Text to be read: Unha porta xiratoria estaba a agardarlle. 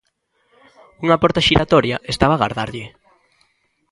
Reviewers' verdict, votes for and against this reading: accepted, 2, 0